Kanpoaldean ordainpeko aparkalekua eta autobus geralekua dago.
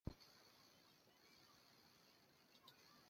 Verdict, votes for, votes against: rejected, 0, 2